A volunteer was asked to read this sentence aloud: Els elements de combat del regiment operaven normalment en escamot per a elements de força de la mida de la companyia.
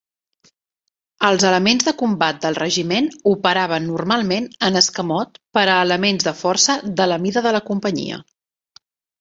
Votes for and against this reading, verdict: 12, 0, accepted